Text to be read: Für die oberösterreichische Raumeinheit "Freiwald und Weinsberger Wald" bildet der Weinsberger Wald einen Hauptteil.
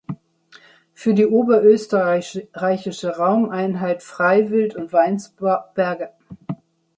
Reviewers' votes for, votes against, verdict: 0, 2, rejected